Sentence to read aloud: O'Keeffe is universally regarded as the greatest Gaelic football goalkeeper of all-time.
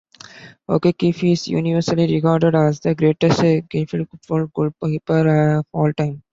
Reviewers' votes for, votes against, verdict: 0, 2, rejected